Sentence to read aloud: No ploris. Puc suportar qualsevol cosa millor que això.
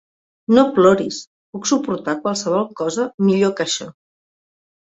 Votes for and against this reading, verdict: 3, 0, accepted